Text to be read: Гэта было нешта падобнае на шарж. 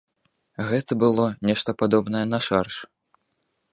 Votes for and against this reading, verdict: 2, 0, accepted